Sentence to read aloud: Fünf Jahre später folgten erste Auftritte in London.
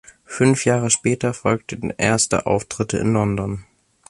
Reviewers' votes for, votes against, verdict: 2, 0, accepted